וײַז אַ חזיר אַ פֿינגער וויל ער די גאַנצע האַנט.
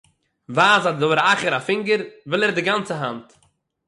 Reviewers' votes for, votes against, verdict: 3, 6, rejected